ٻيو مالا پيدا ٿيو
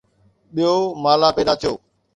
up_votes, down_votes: 2, 0